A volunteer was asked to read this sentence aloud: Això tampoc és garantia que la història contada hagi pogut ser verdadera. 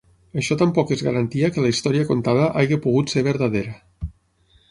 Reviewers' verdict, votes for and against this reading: accepted, 6, 0